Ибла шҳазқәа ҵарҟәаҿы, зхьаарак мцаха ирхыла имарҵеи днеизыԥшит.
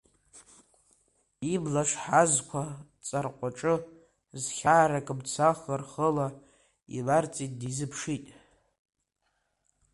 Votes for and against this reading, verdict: 1, 2, rejected